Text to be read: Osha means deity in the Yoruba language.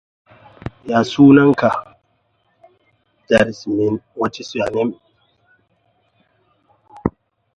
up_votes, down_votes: 0, 2